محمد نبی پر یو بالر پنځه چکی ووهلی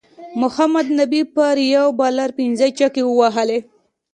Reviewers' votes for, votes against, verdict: 2, 0, accepted